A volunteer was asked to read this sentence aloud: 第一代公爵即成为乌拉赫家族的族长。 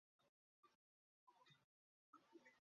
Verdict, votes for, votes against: rejected, 0, 5